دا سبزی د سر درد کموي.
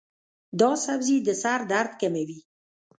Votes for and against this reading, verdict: 1, 2, rejected